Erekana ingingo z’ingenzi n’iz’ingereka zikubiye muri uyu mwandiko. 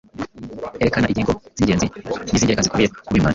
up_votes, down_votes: 1, 2